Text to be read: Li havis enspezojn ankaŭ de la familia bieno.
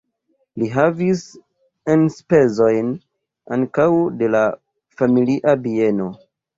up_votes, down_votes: 2, 1